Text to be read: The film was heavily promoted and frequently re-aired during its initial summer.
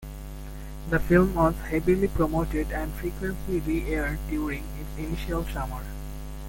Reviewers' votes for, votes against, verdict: 2, 0, accepted